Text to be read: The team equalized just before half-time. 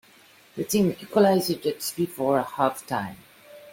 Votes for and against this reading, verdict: 0, 2, rejected